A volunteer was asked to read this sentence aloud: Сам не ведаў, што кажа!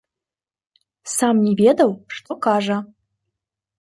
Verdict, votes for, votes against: accepted, 2, 0